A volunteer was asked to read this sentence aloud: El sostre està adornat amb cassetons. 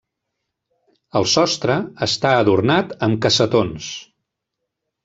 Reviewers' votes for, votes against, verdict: 3, 0, accepted